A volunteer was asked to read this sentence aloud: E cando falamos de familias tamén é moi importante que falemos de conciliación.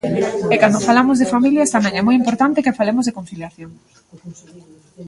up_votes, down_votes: 0, 2